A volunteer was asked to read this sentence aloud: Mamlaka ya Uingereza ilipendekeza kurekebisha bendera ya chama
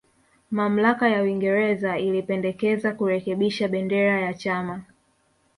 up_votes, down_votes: 2, 0